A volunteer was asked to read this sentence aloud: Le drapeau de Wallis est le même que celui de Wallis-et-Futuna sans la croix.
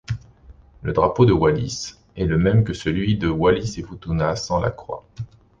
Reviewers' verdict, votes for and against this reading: accepted, 2, 0